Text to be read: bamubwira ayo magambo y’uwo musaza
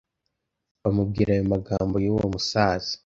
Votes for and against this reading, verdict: 2, 0, accepted